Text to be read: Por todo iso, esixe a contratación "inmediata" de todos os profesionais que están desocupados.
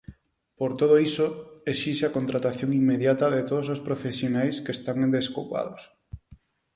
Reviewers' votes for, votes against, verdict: 0, 4, rejected